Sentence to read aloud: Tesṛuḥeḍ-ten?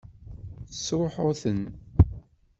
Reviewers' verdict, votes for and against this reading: rejected, 1, 2